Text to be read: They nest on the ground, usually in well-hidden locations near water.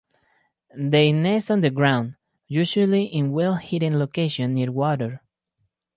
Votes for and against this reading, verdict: 0, 2, rejected